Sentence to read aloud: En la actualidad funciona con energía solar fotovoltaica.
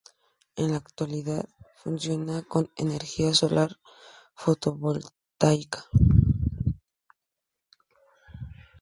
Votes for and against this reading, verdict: 2, 2, rejected